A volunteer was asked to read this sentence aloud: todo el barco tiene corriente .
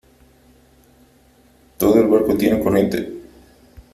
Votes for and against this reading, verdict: 2, 0, accepted